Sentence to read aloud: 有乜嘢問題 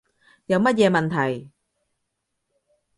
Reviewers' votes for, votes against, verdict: 2, 0, accepted